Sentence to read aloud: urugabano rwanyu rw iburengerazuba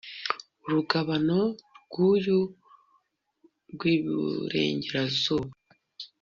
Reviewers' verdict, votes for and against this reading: rejected, 1, 2